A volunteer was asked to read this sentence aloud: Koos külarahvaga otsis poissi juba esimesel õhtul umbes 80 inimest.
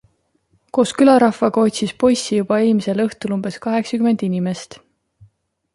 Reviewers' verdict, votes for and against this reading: rejected, 0, 2